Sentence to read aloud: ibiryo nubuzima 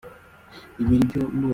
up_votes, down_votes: 0, 2